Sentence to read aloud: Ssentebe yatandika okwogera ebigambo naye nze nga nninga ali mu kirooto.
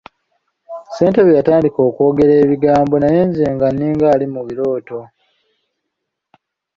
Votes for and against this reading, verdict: 1, 2, rejected